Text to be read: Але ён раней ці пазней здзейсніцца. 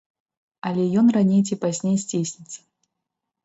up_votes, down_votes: 2, 0